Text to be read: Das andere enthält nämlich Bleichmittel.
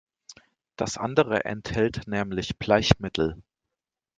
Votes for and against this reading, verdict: 2, 0, accepted